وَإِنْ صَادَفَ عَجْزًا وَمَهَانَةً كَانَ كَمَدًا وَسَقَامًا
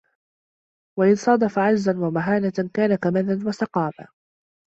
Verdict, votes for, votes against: rejected, 1, 2